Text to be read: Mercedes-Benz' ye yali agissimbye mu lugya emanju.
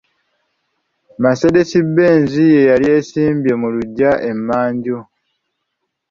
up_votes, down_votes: 0, 2